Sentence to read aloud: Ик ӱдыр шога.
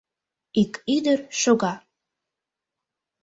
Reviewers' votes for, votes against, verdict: 3, 0, accepted